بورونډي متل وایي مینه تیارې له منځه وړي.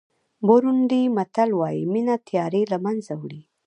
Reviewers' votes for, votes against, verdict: 1, 2, rejected